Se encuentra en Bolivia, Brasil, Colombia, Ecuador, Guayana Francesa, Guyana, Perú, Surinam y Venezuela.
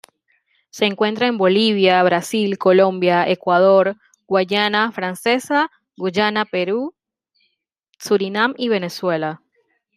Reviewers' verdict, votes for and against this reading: accepted, 2, 0